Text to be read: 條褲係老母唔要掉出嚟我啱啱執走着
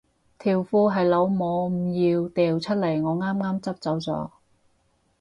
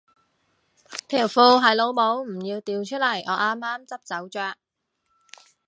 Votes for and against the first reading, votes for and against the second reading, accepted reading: 4, 4, 3, 0, second